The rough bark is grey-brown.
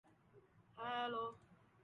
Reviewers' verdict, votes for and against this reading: rejected, 0, 2